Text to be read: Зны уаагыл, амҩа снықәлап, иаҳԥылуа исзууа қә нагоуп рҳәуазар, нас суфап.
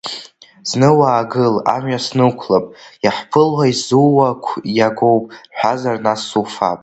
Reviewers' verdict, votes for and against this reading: rejected, 1, 2